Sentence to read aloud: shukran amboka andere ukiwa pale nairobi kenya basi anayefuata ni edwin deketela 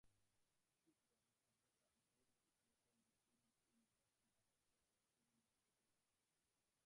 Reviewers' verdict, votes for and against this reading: rejected, 1, 2